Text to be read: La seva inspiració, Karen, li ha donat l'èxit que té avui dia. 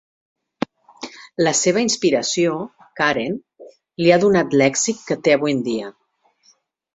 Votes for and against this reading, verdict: 1, 2, rejected